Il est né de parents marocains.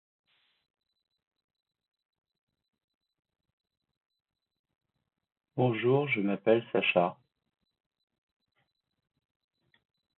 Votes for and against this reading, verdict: 0, 2, rejected